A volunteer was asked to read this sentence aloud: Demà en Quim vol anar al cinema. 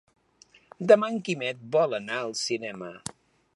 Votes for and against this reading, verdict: 0, 2, rejected